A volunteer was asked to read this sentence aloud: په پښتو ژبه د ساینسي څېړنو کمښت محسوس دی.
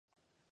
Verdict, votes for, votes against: rejected, 0, 2